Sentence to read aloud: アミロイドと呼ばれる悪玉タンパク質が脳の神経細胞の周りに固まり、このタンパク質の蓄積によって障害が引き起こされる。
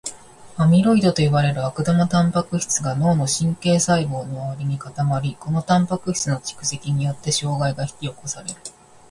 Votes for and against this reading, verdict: 1, 2, rejected